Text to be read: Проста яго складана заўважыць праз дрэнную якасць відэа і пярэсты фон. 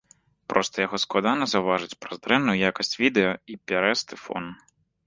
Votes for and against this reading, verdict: 2, 0, accepted